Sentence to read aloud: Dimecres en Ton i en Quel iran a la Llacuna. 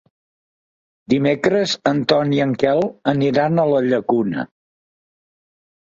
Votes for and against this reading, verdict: 1, 2, rejected